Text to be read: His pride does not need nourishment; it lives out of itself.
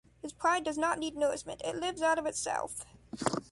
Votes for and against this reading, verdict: 2, 0, accepted